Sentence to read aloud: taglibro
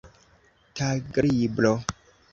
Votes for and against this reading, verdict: 1, 2, rejected